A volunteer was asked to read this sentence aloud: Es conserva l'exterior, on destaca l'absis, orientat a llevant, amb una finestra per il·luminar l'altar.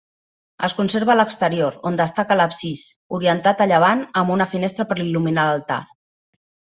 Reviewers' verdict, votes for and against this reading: rejected, 1, 2